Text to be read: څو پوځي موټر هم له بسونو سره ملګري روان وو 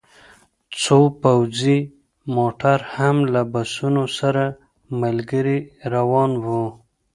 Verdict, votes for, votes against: accepted, 2, 0